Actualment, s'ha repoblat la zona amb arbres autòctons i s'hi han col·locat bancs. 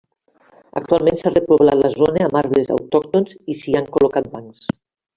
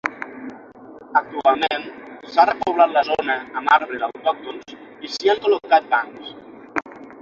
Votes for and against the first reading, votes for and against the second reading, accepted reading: 0, 2, 6, 0, second